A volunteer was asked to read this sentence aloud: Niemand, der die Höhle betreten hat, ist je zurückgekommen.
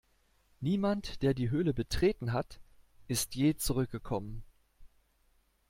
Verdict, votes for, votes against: accepted, 2, 0